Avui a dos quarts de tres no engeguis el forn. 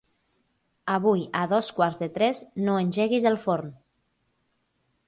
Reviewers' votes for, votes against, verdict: 4, 0, accepted